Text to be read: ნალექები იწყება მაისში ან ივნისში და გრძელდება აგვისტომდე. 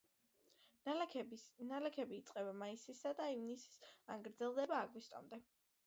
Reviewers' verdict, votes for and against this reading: accepted, 2, 1